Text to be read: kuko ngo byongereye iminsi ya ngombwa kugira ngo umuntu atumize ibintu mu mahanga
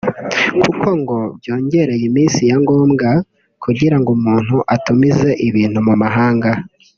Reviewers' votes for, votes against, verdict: 2, 0, accepted